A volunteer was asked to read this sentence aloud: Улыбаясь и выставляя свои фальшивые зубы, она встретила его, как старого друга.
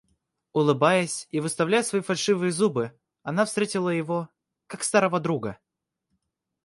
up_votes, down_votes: 2, 0